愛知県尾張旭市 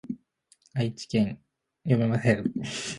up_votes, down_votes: 0, 2